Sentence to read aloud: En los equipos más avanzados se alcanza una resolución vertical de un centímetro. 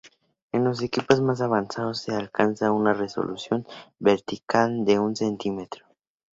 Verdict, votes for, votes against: accepted, 2, 0